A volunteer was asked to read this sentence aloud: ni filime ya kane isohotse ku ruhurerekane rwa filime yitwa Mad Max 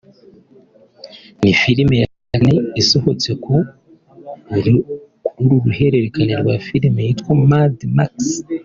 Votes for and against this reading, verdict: 1, 2, rejected